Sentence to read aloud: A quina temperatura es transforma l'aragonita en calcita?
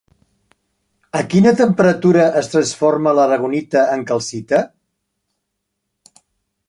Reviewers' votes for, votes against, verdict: 3, 0, accepted